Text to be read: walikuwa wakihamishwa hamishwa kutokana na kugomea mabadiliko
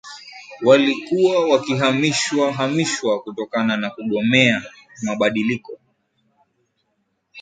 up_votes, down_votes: 2, 0